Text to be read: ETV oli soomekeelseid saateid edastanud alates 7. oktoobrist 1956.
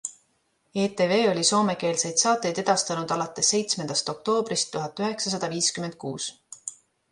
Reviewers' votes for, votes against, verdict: 0, 2, rejected